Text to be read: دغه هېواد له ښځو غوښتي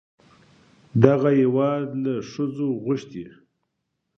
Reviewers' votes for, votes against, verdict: 2, 0, accepted